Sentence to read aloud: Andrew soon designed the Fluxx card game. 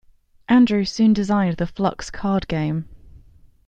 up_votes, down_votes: 2, 0